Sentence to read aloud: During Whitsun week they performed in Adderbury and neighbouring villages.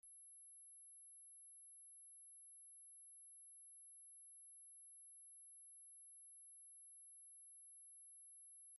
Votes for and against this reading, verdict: 0, 2, rejected